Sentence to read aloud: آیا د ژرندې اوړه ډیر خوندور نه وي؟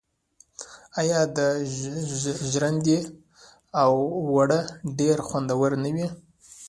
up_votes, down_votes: 0, 2